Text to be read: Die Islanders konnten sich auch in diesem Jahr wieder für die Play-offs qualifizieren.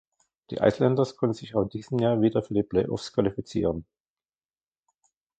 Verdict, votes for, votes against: rejected, 0, 2